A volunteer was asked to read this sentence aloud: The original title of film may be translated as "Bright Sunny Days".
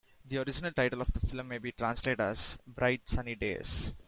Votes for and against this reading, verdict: 0, 2, rejected